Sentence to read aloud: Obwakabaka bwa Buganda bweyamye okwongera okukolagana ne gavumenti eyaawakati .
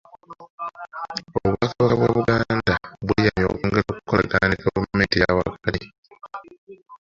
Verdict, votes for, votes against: rejected, 0, 2